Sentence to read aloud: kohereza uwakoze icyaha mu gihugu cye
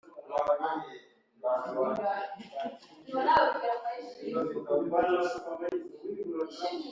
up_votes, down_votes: 0, 2